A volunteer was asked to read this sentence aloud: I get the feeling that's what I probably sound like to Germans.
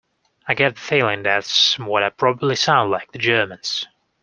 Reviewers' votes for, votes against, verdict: 1, 2, rejected